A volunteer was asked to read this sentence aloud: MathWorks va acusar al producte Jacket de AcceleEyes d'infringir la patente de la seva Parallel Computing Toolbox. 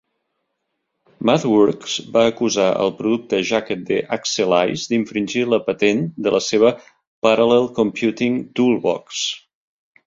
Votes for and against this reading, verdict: 0, 2, rejected